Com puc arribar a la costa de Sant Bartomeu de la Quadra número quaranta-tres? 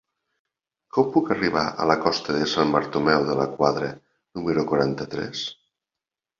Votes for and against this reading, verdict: 2, 0, accepted